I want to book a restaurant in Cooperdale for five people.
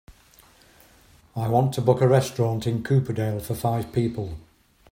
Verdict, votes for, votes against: accepted, 3, 0